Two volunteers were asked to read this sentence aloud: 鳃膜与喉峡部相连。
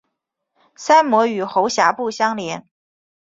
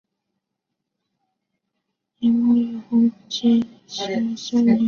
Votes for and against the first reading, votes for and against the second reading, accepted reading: 2, 1, 0, 2, first